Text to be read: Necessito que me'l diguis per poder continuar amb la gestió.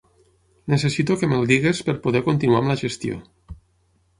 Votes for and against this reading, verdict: 3, 6, rejected